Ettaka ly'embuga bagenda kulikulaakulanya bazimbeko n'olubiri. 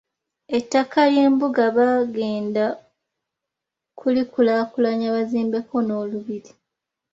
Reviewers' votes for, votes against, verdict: 0, 2, rejected